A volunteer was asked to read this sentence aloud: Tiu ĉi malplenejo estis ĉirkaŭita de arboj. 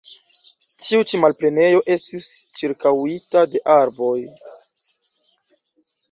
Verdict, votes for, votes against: rejected, 1, 2